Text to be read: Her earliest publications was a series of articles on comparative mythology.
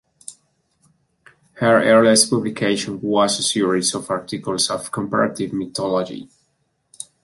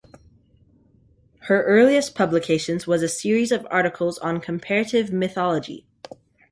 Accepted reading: second